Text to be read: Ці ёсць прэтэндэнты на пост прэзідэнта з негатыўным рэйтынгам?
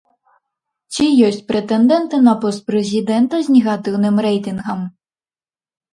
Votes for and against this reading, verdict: 2, 0, accepted